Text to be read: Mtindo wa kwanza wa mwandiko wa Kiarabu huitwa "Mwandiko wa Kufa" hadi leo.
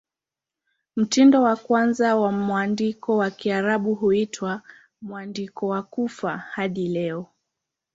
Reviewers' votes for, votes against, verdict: 2, 0, accepted